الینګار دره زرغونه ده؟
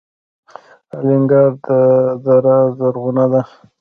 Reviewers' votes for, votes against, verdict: 0, 2, rejected